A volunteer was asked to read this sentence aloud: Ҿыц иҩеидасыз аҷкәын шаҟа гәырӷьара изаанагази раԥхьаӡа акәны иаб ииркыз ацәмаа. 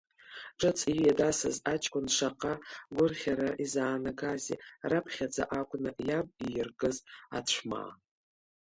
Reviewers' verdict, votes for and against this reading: rejected, 1, 2